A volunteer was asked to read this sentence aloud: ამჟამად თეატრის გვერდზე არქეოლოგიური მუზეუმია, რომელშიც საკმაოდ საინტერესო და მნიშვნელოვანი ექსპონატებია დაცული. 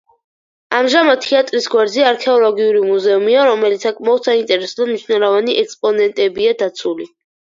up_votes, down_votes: 0, 4